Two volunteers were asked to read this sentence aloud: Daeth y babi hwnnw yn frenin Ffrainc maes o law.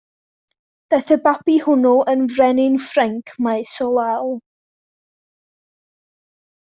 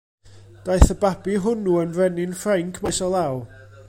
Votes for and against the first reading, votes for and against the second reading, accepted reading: 0, 2, 2, 1, second